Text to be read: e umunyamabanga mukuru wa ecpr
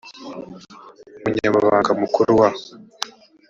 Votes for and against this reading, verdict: 1, 2, rejected